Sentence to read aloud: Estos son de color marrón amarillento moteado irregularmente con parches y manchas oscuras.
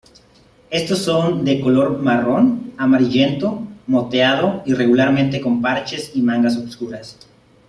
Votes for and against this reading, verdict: 0, 2, rejected